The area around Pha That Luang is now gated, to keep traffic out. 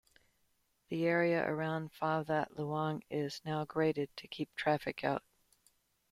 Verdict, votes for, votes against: rejected, 0, 2